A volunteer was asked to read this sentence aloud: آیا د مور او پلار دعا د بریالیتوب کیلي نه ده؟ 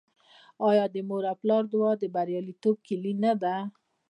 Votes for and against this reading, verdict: 2, 0, accepted